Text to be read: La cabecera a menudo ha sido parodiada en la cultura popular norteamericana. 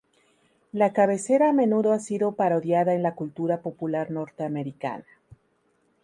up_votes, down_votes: 0, 2